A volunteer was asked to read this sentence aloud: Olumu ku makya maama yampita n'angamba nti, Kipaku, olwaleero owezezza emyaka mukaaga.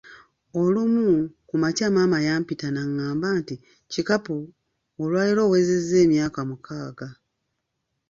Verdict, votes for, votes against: rejected, 1, 2